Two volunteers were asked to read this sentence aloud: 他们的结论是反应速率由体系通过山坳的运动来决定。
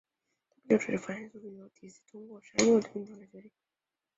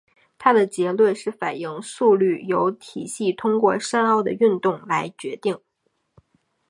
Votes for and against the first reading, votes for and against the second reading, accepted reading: 1, 2, 4, 0, second